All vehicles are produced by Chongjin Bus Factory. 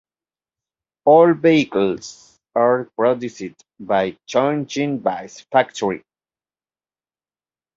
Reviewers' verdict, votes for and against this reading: accepted, 2, 1